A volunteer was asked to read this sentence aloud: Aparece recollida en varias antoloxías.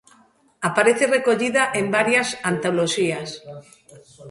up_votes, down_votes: 2, 0